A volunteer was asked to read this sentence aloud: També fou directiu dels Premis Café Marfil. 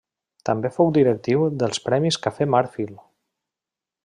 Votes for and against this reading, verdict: 0, 2, rejected